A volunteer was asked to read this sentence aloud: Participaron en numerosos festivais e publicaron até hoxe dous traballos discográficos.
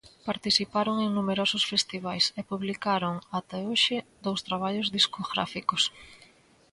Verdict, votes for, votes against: accepted, 2, 0